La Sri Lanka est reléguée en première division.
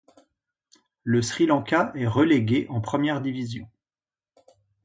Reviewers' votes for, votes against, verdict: 0, 2, rejected